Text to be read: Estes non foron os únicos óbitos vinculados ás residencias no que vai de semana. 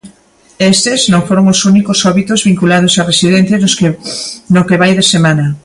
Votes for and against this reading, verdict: 0, 2, rejected